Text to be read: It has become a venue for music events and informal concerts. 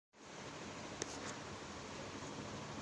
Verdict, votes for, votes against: rejected, 1, 2